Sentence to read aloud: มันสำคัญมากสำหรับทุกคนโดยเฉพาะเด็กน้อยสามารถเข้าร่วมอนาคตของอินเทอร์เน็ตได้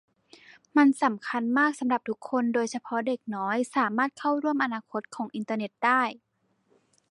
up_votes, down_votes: 0, 2